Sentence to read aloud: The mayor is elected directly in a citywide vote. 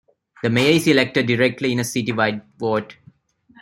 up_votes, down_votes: 2, 0